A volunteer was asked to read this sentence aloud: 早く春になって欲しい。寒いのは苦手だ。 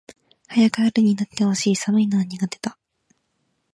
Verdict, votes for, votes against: accepted, 2, 0